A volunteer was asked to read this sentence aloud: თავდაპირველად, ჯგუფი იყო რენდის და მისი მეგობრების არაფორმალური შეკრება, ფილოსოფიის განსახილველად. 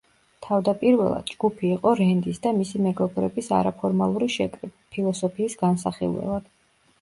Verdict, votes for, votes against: rejected, 0, 2